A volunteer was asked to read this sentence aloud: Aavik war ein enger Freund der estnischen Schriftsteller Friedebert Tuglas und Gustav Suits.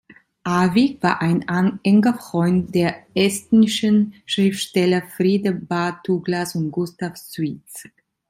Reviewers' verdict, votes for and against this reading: rejected, 0, 2